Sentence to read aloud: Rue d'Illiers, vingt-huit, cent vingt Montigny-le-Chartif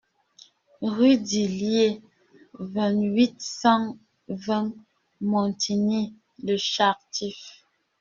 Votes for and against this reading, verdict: 0, 2, rejected